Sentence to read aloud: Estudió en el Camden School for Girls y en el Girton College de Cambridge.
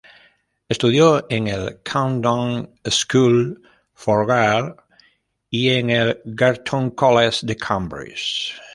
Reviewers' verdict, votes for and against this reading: rejected, 0, 2